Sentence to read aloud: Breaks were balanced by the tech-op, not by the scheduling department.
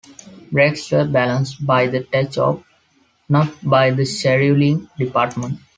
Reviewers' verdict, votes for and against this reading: rejected, 0, 2